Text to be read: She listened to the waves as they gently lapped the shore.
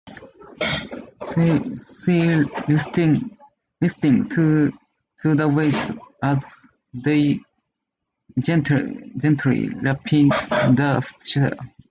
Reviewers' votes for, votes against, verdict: 2, 0, accepted